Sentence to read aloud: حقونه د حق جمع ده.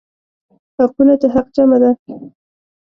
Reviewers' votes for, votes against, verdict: 1, 2, rejected